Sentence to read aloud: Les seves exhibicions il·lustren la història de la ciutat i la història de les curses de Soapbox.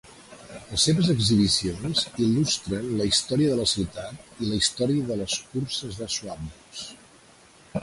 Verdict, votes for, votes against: rejected, 1, 2